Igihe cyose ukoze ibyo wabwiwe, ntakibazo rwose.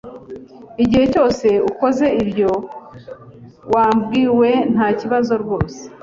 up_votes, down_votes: 2, 0